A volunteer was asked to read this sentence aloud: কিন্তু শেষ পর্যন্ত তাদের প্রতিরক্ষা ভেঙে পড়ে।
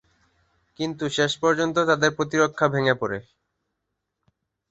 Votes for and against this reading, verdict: 8, 0, accepted